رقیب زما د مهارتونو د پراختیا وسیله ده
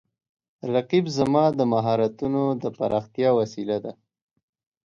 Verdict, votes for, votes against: accepted, 2, 0